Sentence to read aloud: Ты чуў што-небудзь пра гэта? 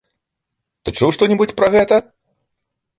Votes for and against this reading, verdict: 2, 0, accepted